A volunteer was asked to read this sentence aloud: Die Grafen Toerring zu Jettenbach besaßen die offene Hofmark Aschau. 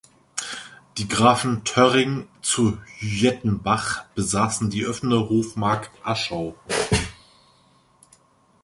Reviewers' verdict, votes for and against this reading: rejected, 0, 2